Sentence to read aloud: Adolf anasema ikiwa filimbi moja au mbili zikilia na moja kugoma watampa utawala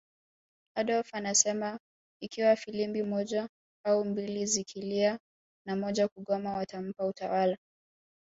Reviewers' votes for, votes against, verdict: 1, 2, rejected